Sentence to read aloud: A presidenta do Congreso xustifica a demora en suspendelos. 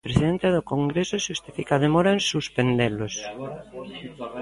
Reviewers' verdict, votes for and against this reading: rejected, 0, 2